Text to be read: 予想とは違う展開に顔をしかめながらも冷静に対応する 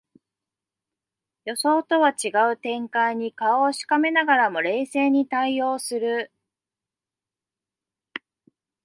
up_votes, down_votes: 2, 0